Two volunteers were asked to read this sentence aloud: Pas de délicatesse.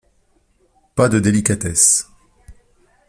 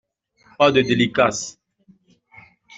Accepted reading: first